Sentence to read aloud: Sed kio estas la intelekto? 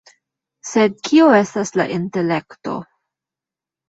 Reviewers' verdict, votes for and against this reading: accepted, 2, 0